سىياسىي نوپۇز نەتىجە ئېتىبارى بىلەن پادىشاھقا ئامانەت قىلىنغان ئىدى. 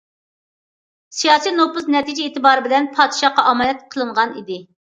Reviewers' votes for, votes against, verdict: 2, 0, accepted